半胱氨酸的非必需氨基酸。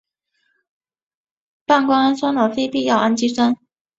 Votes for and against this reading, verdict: 2, 0, accepted